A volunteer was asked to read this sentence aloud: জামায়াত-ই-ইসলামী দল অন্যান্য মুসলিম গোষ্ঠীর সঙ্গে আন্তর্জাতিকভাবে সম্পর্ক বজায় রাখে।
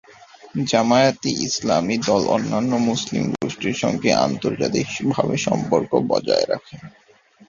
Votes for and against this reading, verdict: 2, 0, accepted